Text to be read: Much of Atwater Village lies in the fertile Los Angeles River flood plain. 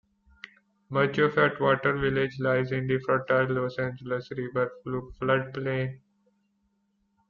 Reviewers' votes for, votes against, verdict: 2, 0, accepted